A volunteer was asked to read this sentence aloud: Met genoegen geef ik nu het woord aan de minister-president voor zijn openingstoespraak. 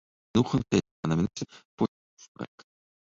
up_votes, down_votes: 0, 2